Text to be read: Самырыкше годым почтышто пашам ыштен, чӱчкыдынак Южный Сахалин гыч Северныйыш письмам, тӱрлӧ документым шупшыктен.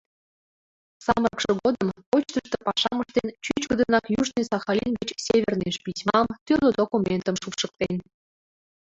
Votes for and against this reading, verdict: 0, 2, rejected